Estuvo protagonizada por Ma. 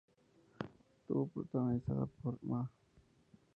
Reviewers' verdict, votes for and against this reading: accepted, 2, 0